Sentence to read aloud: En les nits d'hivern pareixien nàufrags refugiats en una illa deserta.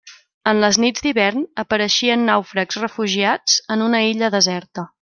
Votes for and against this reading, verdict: 0, 2, rejected